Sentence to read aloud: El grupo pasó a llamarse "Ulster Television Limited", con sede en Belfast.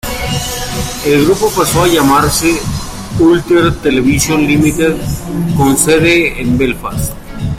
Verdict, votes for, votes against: rejected, 1, 3